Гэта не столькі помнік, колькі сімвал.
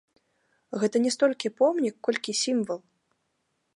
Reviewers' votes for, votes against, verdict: 2, 0, accepted